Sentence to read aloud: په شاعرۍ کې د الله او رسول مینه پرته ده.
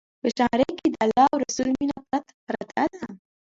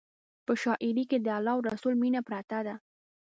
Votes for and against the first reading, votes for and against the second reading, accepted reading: 0, 2, 2, 0, second